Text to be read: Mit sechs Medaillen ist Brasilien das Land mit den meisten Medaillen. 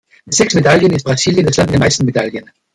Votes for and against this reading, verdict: 2, 0, accepted